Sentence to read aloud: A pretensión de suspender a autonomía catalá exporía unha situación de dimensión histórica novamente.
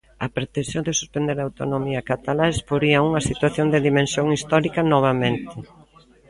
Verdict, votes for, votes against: accepted, 2, 0